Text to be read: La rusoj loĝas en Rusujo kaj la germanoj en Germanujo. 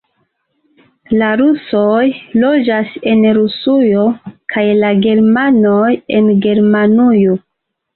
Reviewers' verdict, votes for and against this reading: accepted, 2, 0